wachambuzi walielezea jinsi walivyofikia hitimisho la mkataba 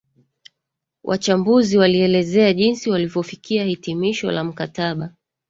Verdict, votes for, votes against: rejected, 1, 2